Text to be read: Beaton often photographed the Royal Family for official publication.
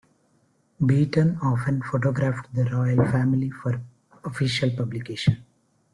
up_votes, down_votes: 2, 0